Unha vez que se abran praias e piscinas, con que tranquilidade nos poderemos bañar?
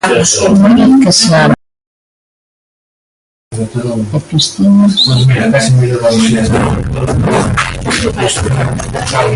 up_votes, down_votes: 0, 2